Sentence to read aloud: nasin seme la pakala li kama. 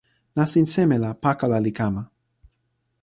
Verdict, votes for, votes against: accepted, 2, 0